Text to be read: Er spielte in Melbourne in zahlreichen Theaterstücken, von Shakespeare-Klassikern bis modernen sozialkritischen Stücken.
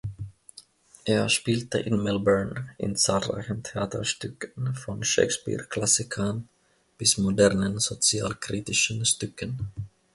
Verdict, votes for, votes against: accepted, 2, 0